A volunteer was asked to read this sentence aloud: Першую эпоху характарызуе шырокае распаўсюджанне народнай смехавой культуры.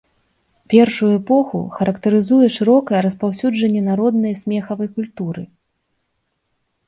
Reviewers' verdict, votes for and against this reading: rejected, 1, 2